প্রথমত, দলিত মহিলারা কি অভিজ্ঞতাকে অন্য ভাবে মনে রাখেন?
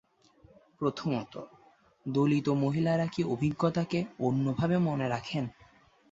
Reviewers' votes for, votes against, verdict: 2, 0, accepted